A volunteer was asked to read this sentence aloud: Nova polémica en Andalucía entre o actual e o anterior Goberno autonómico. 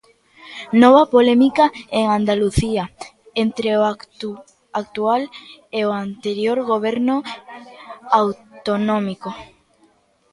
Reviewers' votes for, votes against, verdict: 0, 2, rejected